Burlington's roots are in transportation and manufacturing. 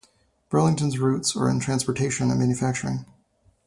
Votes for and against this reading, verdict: 4, 0, accepted